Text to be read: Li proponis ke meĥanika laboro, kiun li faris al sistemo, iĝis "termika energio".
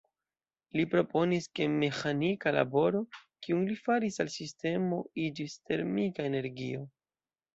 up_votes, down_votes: 2, 0